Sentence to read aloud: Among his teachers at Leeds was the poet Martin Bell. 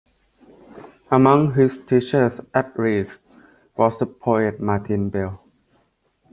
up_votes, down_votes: 1, 2